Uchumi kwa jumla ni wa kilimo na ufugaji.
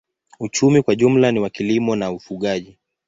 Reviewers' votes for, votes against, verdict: 2, 0, accepted